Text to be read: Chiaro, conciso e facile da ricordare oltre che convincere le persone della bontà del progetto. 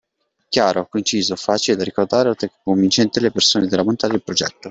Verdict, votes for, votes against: accepted, 2, 0